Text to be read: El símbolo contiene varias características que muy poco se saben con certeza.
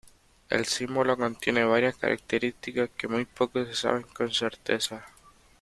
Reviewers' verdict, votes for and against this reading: accepted, 2, 1